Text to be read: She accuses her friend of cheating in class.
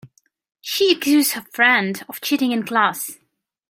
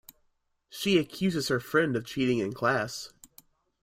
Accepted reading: second